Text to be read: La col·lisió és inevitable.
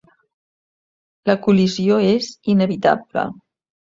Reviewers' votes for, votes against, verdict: 2, 0, accepted